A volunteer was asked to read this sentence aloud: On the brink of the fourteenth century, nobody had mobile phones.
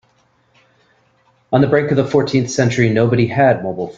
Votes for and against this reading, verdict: 0, 2, rejected